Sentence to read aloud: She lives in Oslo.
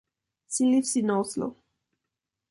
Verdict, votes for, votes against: accepted, 2, 0